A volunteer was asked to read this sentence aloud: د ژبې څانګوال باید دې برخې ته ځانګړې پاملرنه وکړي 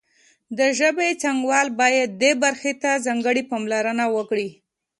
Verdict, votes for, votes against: accepted, 2, 0